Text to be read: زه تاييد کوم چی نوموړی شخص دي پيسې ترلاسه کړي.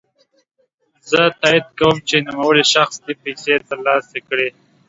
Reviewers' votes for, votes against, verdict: 2, 0, accepted